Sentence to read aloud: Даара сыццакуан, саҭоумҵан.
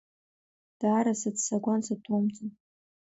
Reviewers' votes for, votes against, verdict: 2, 0, accepted